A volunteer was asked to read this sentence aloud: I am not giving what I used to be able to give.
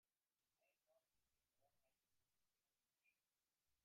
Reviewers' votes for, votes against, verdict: 0, 2, rejected